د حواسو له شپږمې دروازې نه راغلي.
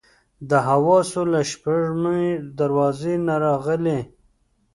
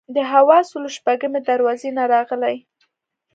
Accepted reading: second